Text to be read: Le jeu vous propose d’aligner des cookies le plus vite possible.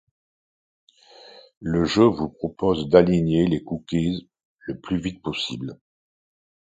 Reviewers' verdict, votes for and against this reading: rejected, 1, 2